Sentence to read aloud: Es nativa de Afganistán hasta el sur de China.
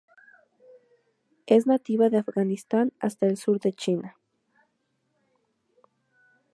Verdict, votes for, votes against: accepted, 6, 0